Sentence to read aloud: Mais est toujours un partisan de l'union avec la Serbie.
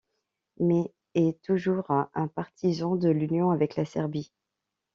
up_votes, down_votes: 2, 0